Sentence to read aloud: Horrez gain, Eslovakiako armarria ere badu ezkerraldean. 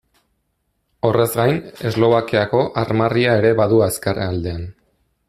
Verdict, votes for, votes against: rejected, 1, 2